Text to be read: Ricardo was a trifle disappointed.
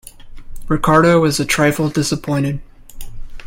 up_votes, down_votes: 2, 0